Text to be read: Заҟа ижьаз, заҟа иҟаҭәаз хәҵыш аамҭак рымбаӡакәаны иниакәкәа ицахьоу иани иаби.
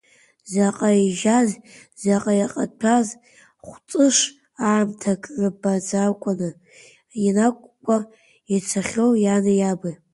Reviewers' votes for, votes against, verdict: 1, 2, rejected